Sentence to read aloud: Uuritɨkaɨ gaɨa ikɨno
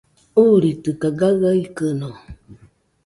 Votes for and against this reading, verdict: 2, 0, accepted